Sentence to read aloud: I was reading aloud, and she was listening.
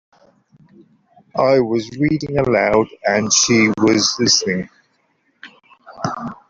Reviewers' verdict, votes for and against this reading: accepted, 2, 0